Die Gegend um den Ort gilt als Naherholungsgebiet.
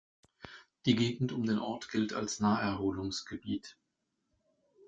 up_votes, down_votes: 3, 0